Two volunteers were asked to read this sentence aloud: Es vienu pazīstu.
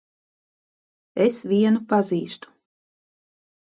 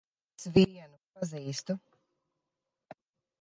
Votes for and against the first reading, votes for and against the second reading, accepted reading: 2, 0, 0, 2, first